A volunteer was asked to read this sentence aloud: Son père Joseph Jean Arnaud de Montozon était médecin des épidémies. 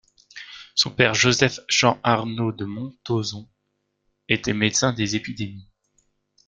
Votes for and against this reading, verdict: 0, 2, rejected